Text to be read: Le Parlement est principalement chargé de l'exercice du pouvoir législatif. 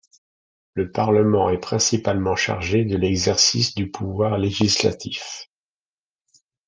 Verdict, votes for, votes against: accepted, 2, 0